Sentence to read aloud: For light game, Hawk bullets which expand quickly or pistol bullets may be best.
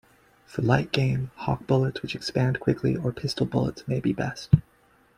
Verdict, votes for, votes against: rejected, 0, 2